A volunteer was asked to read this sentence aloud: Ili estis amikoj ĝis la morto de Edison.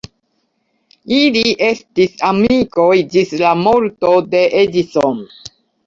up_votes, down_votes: 2, 0